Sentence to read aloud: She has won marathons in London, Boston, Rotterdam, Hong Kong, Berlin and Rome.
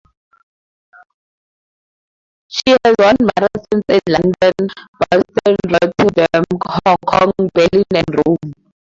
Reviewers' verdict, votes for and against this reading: rejected, 0, 4